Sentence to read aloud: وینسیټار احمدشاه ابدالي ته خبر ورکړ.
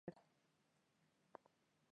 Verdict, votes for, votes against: rejected, 0, 3